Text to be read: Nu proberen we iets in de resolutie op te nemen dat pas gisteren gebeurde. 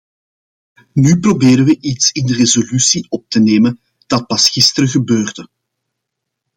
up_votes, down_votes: 2, 0